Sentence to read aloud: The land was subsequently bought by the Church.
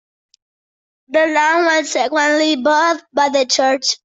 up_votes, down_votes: 0, 2